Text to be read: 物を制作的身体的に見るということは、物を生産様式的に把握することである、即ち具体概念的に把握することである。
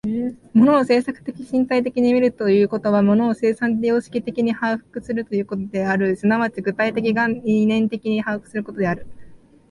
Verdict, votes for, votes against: rejected, 3, 4